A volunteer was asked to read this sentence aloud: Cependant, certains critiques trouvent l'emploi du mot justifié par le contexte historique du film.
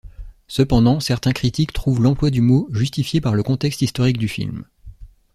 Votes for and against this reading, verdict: 2, 0, accepted